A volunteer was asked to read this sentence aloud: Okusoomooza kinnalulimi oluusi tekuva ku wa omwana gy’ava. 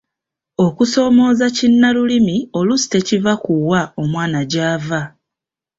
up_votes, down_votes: 2, 0